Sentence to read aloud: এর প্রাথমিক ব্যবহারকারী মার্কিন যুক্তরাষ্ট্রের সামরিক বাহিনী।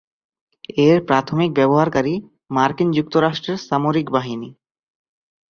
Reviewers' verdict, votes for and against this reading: rejected, 1, 5